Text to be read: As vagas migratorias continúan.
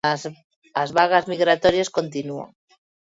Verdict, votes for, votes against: rejected, 0, 2